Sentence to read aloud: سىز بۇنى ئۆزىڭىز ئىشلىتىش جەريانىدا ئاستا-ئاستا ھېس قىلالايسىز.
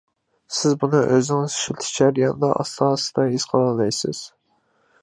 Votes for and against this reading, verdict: 2, 1, accepted